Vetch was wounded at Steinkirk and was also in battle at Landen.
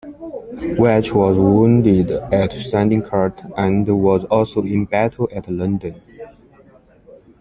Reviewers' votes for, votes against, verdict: 2, 1, accepted